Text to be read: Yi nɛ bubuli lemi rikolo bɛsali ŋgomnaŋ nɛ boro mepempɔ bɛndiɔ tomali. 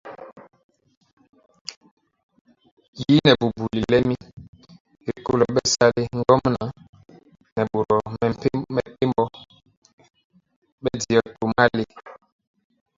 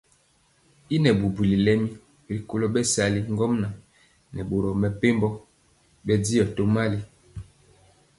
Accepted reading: second